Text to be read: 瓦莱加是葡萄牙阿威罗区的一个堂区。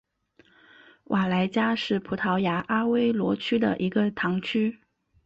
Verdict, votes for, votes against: accepted, 4, 1